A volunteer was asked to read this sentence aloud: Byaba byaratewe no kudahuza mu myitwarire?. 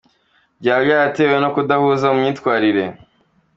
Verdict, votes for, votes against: accepted, 2, 1